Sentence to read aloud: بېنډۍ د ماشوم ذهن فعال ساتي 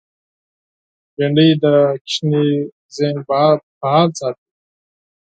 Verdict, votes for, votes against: rejected, 0, 4